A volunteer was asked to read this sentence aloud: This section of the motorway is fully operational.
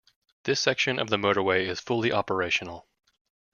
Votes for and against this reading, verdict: 2, 1, accepted